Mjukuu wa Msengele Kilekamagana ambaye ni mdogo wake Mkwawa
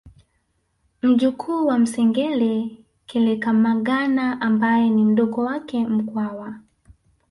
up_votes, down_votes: 1, 2